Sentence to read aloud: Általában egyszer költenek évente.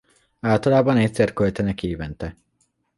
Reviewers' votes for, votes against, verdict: 2, 0, accepted